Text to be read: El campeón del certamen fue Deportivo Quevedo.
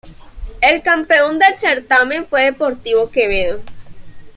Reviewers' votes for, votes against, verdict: 2, 0, accepted